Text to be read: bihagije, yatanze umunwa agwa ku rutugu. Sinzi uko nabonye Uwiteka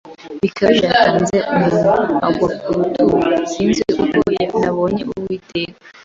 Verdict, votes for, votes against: accepted, 2, 0